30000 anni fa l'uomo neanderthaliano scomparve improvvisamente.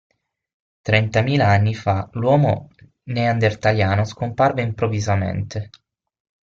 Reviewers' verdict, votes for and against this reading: rejected, 0, 2